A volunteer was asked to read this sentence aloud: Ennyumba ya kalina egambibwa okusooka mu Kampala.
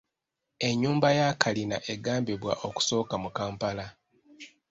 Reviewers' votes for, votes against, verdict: 0, 2, rejected